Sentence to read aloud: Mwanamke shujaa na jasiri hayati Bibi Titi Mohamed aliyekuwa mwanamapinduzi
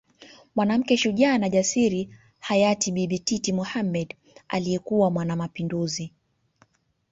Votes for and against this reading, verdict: 3, 0, accepted